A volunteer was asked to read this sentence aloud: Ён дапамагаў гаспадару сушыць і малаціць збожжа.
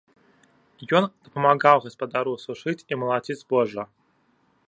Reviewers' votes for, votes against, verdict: 1, 2, rejected